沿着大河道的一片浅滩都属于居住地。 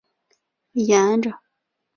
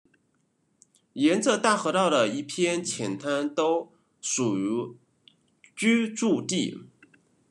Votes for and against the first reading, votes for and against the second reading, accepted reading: 0, 2, 2, 1, second